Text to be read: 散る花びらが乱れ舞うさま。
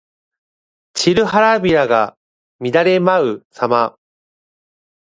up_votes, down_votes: 1, 2